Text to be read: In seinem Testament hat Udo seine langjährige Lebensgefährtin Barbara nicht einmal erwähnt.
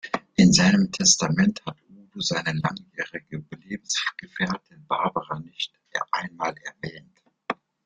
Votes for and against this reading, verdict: 0, 2, rejected